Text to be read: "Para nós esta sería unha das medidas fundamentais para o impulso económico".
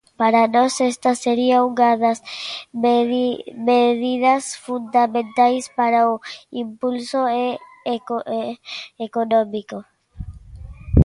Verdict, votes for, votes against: rejected, 0, 2